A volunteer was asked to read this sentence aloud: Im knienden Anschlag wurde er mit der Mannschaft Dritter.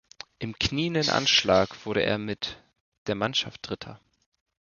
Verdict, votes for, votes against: accepted, 2, 0